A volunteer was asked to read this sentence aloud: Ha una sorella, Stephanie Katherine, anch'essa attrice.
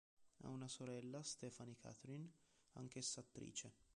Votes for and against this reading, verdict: 0, 2, rejected